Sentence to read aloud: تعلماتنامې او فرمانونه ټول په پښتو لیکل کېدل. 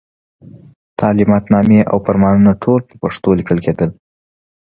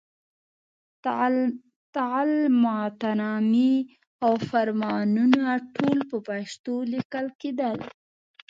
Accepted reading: first